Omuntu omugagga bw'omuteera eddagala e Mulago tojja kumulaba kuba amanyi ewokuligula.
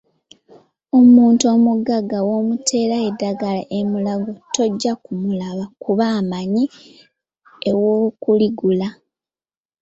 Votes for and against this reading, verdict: 2, 1, accepted